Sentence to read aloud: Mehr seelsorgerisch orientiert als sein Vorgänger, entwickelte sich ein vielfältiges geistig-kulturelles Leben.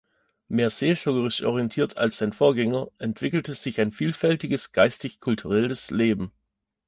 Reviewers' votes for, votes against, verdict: 2, 0, accepted